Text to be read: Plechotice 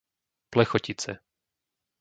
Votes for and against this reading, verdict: 2, 0, accepted